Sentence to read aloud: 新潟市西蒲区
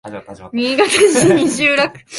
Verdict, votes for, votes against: accepted, 3, 0